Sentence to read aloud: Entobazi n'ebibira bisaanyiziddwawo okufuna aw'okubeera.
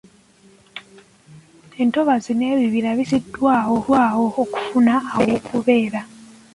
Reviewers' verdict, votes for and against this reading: rejected, 0, 2